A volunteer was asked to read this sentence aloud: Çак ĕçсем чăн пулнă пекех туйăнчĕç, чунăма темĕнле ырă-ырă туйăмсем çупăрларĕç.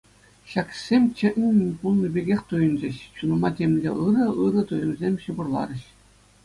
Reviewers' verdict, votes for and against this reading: accepted, 2, 0